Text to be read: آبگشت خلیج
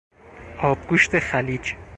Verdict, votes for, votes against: rejected, 0, 4